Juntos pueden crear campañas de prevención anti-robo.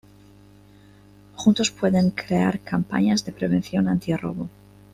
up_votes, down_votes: 2, 0